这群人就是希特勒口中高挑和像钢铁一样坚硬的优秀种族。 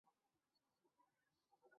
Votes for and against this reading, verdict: 0, 2, rejected